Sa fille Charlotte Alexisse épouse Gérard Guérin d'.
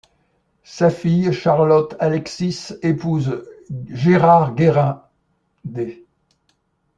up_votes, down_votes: 0, 2